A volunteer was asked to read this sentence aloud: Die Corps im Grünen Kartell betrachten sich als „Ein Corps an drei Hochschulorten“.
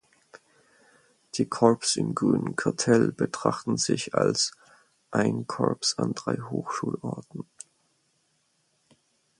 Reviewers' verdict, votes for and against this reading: accepted, 4, 0